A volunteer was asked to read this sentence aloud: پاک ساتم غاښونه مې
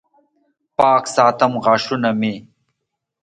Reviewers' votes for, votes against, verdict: 2, 0, accepted